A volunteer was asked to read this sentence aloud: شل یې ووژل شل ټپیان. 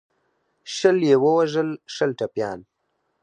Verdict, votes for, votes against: accepted, 4, 0